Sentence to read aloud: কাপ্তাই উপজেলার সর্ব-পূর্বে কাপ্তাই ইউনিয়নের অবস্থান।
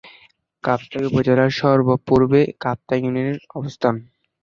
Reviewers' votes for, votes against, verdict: 1, 2, rejected